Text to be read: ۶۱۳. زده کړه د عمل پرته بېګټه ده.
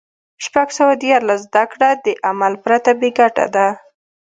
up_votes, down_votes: 0, 2